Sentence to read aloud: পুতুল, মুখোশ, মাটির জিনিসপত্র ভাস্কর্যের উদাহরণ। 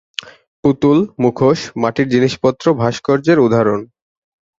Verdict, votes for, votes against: accepted, 6, 0